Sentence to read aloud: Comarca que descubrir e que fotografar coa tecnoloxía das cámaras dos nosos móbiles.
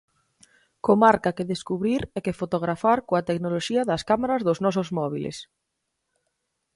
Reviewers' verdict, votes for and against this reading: accepted, 4, 0